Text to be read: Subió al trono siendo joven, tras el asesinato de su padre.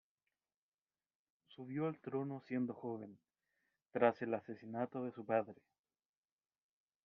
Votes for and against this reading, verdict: 0, 2, rejected